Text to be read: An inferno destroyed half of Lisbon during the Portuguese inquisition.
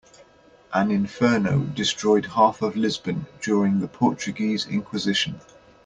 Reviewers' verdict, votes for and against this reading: accepted, 2, 0